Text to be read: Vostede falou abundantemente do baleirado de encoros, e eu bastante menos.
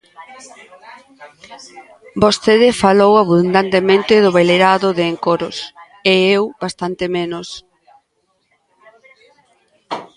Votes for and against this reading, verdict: 1, 2, rejected